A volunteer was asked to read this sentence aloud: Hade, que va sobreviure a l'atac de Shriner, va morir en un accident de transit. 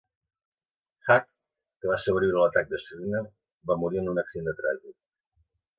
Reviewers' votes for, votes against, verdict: 2, 1, accepted